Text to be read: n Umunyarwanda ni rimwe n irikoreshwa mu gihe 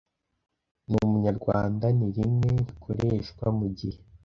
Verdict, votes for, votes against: accepted, 2, 0